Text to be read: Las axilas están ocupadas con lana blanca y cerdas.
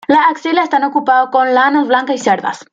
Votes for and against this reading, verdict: 1, 2, rejected